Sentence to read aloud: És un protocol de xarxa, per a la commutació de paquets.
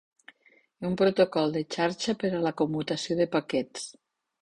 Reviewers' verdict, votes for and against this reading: rejected, 0, 2